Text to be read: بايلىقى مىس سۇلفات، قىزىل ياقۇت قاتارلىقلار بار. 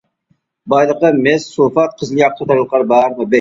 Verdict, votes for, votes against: rejected, 0, 2